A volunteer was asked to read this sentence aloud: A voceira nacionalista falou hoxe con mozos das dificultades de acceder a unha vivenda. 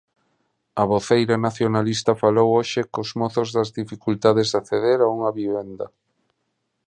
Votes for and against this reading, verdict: 2, 1, accepted